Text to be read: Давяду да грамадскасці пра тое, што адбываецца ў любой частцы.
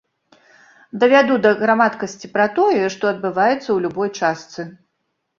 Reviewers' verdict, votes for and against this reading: rejected, 1, 3